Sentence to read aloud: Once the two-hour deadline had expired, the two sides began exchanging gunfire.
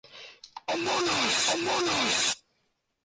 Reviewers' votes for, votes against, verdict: 0, 2, rejected